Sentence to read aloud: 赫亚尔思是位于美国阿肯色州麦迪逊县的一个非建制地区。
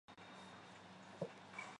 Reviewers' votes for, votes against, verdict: 0, 2, rejected